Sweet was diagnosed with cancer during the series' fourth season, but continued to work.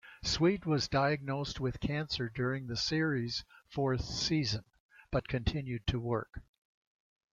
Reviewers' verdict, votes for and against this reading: accepted, 2, 0